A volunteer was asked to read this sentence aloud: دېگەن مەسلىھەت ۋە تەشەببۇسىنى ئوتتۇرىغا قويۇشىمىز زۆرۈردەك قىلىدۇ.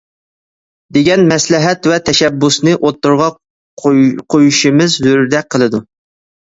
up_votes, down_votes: 0, 2